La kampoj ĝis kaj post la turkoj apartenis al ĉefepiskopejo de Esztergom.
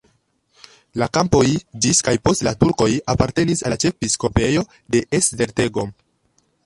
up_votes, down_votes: 1, 2